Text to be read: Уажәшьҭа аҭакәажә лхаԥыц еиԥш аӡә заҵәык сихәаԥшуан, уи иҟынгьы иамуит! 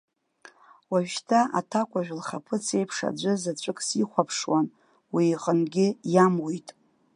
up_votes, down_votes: 2, 0